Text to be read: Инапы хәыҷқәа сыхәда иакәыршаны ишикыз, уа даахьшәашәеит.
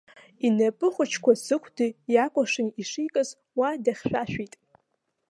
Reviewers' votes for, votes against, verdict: 0, 2, rejected